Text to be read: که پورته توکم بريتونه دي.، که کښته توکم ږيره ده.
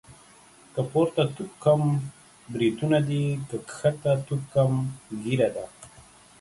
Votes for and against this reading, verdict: 2, 0, accepted